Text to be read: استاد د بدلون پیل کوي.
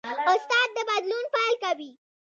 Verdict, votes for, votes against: rejected, 1, 2